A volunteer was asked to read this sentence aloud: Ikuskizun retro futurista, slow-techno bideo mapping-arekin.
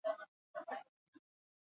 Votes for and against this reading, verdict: 0, 6, rejected